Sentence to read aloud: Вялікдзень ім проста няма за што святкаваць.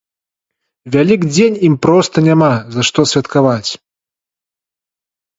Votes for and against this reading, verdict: 3, 1, accepted